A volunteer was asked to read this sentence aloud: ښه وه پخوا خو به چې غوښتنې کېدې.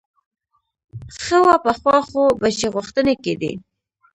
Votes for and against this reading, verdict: 1, 2, rejected